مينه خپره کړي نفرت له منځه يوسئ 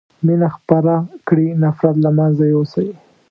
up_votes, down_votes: 2, 0